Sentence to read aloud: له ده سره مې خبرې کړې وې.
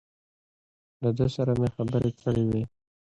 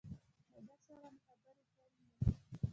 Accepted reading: first